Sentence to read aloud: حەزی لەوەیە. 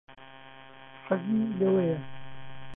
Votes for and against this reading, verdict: 1, 2, rejected